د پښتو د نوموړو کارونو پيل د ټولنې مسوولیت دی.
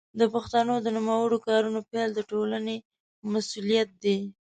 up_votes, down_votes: 1, 2